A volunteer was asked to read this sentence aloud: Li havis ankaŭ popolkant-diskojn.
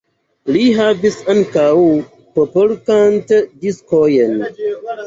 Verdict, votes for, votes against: accepted, 2, 1